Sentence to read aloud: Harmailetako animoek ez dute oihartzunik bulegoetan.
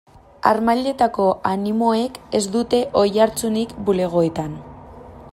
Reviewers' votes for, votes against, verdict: 2, 0, accepted